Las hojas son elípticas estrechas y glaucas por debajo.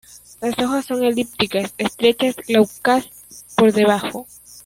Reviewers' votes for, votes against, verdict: 0, 2, rejected